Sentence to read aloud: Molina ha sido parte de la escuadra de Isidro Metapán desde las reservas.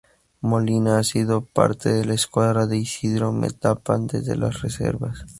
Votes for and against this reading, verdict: 2, 0, accepted